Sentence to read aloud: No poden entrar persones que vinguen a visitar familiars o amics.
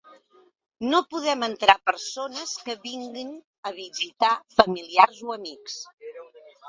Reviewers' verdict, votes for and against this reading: rejected, 0, 2